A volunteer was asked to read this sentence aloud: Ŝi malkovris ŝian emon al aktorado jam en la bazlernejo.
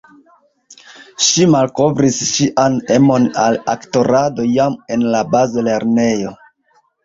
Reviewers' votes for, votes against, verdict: 2, 1, accepted